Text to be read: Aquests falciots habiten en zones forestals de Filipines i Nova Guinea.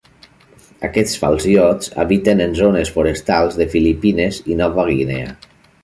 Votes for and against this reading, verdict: 2, 0, accepted